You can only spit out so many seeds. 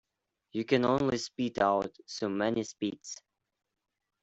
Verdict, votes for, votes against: rejected, 0, 2